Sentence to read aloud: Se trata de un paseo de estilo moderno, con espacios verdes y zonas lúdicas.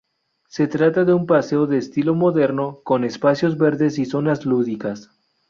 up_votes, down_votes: 2, 2